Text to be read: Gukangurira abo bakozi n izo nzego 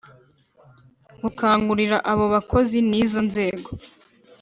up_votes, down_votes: 2, 0